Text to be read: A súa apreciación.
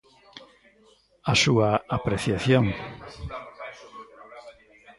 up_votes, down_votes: 1, 2